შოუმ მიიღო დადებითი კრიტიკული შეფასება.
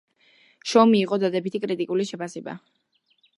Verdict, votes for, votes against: accepted, 2, 0